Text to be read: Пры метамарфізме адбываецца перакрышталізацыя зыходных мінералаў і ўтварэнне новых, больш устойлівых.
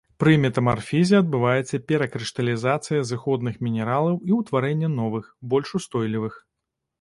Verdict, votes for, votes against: rejected, 0, 2